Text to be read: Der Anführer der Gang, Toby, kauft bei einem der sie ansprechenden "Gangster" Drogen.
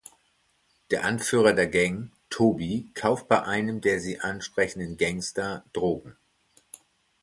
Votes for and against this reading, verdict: 2, 0, accepted